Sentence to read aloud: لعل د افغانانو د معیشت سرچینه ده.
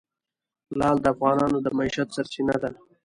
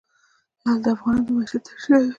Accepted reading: second